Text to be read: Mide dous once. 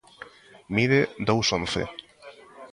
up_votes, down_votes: 2, 0